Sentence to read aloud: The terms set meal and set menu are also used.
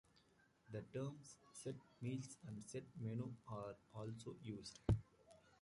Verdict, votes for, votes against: rejected, 0, 2